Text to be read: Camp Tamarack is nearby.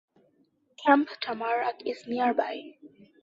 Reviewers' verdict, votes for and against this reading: accepted, 2, 0